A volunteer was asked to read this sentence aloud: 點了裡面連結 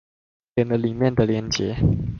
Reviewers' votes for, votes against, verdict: 0, 2, rejected